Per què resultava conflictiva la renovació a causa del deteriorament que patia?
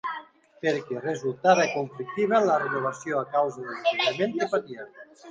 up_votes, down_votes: 0, 2